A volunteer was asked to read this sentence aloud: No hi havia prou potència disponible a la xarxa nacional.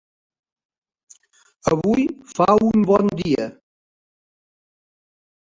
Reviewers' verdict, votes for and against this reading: rejected, 0, 2